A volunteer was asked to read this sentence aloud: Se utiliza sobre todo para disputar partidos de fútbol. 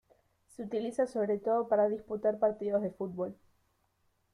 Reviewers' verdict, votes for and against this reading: rejected, 1, 2